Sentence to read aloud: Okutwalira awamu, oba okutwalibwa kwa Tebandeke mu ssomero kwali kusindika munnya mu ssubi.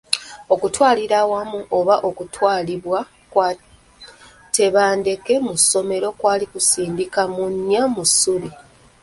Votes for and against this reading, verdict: 0, 2, rejected